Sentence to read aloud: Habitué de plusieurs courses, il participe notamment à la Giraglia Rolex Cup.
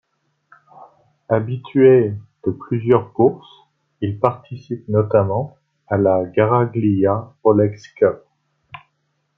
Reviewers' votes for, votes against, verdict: 1, 2, rejected